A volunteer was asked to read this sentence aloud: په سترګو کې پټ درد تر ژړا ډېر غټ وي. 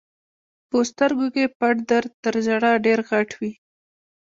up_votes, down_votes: 0, 2